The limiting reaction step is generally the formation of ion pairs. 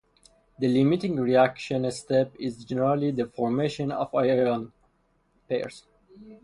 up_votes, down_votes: 2, 2